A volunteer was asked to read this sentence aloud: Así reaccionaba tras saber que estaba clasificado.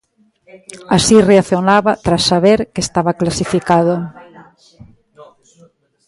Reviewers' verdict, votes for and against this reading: rejected, 1, 2